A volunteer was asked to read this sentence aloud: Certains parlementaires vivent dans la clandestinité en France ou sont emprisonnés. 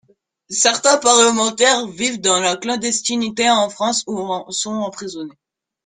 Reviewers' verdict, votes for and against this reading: rejected, 1, 2